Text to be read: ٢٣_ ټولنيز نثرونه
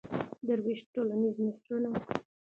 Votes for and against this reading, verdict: 0, 2, rejected